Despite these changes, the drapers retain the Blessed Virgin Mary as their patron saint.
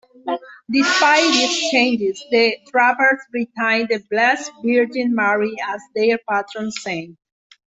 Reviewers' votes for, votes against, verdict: 0, 2, rejected